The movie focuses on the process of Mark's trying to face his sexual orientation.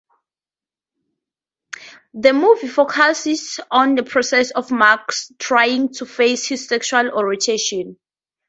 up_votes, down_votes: 2, 0